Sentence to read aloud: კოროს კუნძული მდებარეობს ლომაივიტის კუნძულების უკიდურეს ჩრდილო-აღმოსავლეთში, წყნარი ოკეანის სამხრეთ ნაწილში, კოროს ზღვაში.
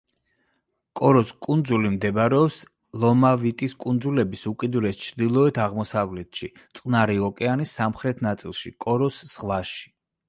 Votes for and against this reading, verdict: 0, 2, rejected